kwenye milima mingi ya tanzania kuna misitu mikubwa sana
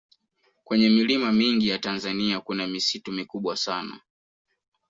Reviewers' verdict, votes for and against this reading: accepted, 2, 0